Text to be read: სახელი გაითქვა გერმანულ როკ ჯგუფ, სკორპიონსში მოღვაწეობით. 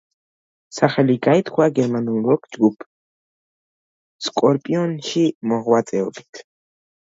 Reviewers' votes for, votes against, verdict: 2, 0, accepted